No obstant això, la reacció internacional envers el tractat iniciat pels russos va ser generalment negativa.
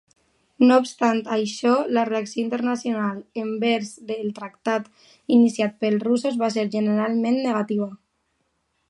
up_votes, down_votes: 1, 2